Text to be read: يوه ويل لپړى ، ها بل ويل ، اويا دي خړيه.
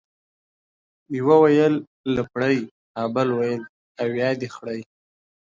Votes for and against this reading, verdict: 2, 0, accepted